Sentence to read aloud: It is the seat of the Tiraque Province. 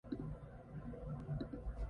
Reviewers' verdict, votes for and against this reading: rejected, 0, 3